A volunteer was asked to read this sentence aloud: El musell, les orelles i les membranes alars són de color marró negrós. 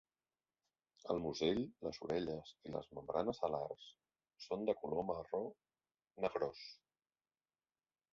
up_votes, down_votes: 3, 1